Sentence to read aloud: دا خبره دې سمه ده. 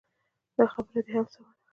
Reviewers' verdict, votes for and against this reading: rejected, 0, 2